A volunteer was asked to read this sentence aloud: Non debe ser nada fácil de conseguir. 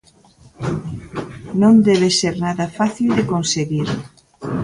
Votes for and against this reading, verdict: 2, 0, accepted